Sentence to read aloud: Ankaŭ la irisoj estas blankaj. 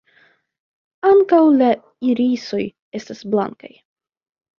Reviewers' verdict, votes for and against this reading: accepted, 2, 0